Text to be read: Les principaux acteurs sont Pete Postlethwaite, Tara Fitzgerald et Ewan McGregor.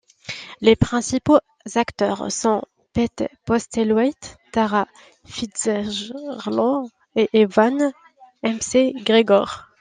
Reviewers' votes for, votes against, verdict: 0, 2, rejected